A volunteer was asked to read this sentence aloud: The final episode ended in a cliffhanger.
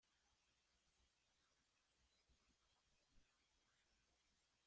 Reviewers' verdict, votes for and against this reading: rejected, 0, 2